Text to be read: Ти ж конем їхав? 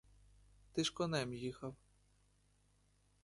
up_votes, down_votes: 2, 0